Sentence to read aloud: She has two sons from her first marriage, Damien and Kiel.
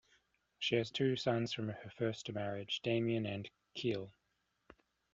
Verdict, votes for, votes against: rejected, 1, 2